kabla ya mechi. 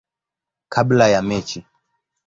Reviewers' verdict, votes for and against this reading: accepted, 2, 0